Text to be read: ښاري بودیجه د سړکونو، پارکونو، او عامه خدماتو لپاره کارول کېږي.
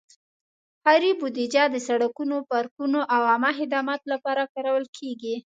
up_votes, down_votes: 2, 0